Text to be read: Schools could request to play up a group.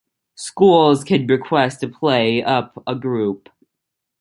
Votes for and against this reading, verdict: 2, 1, accepted